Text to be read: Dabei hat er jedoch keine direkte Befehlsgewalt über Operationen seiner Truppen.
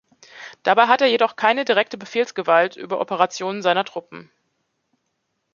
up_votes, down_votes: 2, 0